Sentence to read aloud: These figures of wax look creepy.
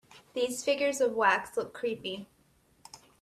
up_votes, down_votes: 2, 0